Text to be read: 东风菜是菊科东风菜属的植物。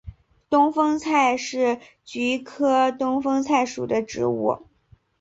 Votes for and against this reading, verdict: 2, 0, accepted